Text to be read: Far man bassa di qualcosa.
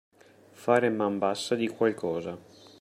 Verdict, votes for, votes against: accepted, 2, 1